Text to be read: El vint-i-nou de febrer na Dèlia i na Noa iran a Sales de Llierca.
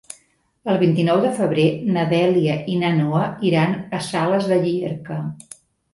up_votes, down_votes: 3, 0